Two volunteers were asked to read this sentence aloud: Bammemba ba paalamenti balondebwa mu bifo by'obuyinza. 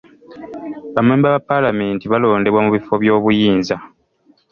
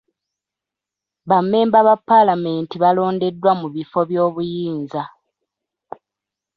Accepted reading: first